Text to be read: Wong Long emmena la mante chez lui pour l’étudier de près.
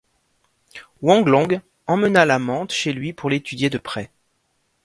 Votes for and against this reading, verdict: 2, 1, accepted